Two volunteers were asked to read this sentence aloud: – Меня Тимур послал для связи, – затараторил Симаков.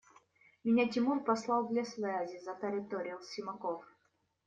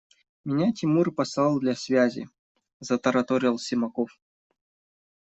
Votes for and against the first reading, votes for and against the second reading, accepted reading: 0, 2, 2, 0, second